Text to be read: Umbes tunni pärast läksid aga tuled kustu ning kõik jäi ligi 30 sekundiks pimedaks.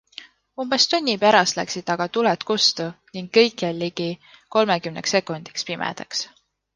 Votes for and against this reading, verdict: 0, 2, rejected